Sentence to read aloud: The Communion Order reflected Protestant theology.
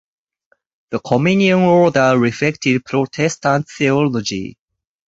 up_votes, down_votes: 0, 4